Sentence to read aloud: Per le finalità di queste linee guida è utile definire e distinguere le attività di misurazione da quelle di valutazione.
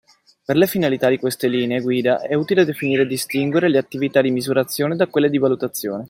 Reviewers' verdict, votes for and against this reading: accepted, 2, 0